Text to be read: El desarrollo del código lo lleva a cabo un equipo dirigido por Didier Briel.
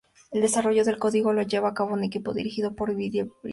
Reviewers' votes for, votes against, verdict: 0, 2, rejected